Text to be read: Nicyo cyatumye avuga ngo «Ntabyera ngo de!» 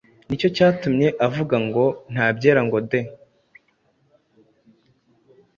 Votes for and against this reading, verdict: 2, 0, accepted